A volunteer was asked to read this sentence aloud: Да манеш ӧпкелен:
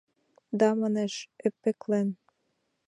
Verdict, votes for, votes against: rejected, 1, 6